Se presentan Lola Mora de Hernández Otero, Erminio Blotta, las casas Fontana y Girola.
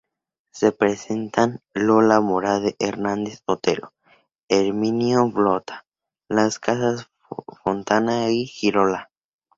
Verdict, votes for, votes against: rejected, 0, 4